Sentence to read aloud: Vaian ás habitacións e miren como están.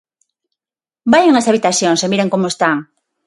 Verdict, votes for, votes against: accepted, 6, 0